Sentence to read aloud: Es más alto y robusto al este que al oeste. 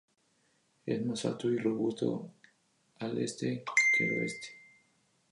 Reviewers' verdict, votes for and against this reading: accepted, 2, 0